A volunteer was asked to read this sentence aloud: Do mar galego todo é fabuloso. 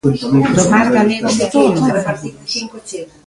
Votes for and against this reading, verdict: 0, 2, rejected